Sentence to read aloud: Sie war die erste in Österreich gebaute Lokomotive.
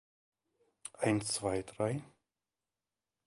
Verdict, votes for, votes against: rejected, 0, 2